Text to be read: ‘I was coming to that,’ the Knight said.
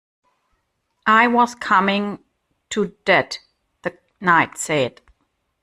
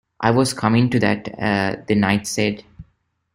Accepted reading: second